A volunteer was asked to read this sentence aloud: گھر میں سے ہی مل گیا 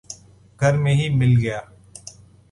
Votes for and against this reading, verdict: 0, 2, rejected